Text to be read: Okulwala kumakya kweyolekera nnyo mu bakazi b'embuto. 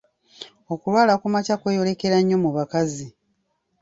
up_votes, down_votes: 0, 2